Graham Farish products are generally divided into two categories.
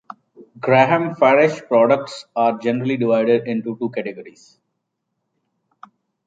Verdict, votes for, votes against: accepted, 2, 0